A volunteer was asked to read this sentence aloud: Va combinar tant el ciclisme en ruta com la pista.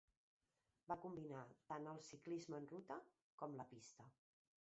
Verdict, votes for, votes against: rejected, 0, 2